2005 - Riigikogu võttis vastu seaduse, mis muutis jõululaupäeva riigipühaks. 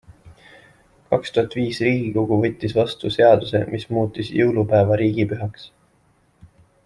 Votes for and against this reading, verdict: 0, 2, rejected